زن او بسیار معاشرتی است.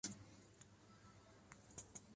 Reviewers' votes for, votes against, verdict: 0, 2, rejected